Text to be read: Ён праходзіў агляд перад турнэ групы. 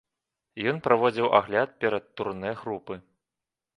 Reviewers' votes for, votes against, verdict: 1, 2, rejected